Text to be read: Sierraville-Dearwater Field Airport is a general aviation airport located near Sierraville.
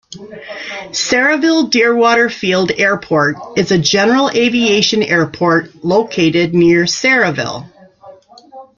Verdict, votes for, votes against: rejected, 1, 2